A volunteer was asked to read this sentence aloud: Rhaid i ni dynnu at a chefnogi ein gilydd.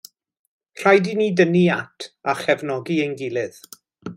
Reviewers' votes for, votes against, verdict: 2, 0, accepted